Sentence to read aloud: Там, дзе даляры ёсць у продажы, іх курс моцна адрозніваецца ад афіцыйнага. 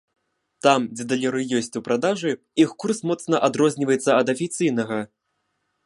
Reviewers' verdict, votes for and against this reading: accepted, 2, 0